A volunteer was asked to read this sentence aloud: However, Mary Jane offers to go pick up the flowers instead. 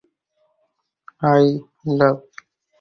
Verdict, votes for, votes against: rejected, 0, 6